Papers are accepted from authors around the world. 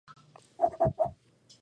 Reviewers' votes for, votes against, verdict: 0, 2, rejected